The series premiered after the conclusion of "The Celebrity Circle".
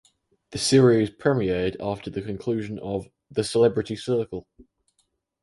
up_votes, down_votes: 4, 0